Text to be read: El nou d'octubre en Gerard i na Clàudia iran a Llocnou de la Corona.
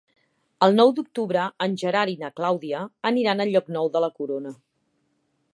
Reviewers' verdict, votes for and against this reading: rejected, 0, 2